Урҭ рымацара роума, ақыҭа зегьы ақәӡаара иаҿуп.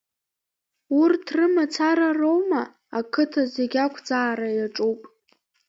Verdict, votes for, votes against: accepted, 2, 1